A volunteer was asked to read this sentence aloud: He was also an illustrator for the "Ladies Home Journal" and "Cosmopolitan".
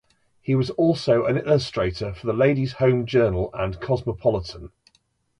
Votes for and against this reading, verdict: 2, 0, accepted